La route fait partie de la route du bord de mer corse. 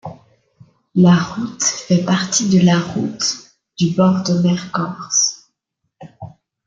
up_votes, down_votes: 2, 0